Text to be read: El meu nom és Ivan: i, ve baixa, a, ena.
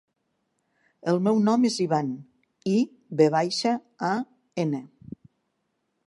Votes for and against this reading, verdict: 3, 0, accepted